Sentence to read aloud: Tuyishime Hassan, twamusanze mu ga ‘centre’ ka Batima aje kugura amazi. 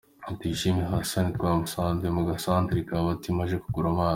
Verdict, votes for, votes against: accepted, 2, 1